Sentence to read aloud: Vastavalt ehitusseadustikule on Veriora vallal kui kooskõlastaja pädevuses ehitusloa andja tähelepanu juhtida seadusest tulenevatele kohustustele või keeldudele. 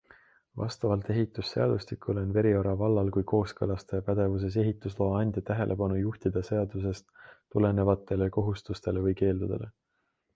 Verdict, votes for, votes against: accepted, 2, 1